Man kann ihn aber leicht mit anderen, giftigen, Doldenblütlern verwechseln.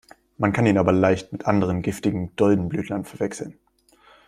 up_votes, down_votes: 2, 0